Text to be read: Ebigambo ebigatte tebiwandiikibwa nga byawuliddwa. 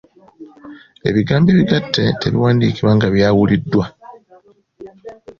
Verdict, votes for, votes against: accepted, 2, 0